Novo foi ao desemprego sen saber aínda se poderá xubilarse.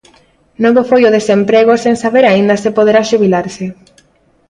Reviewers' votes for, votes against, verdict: 2, 0, accepted